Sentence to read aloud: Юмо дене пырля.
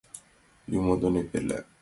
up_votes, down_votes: 2, 1